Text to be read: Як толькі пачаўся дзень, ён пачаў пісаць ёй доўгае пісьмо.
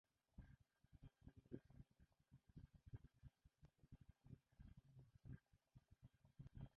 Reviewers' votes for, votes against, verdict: 0, 2, rejected